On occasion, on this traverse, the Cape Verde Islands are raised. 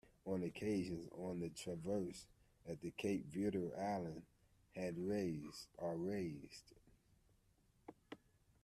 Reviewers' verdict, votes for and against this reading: rejected, 0, 2